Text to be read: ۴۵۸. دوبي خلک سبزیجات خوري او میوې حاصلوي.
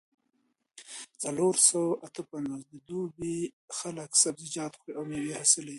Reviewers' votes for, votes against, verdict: 0, 2, rejected